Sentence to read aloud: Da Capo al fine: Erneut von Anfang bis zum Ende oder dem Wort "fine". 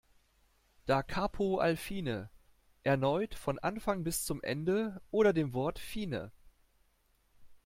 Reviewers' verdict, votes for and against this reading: accepted, 2, 0